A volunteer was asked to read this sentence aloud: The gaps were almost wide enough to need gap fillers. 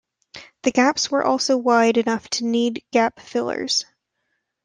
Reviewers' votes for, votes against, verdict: 2, 0, accepted